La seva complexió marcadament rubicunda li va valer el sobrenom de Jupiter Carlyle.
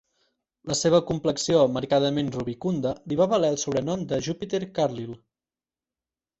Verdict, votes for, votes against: accepted, 4, 0